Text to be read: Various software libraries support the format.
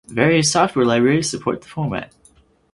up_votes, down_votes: 4, 0